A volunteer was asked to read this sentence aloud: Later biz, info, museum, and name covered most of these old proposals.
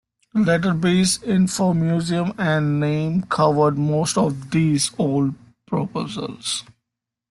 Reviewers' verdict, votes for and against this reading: accepted, 2, 0